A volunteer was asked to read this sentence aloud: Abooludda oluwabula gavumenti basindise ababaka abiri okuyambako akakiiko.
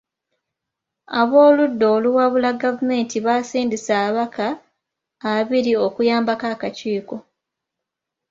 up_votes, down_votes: 0, 2